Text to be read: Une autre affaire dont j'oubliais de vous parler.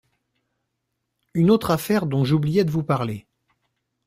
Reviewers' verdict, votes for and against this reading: accepted, 2, 0